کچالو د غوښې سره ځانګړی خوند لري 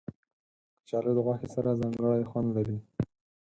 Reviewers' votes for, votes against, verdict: 6, 0, accepted